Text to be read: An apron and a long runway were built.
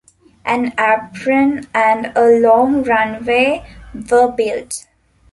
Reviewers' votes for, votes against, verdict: 1, 2, rejected